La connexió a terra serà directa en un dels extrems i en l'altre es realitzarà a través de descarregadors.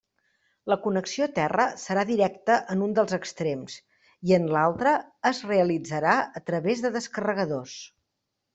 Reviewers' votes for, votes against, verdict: 3, 0, accepted